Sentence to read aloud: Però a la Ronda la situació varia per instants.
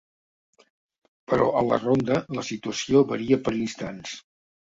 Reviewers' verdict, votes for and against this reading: accepted, 2, 0